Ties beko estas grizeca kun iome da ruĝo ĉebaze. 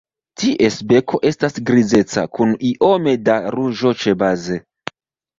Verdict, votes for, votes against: accepted, 2, 0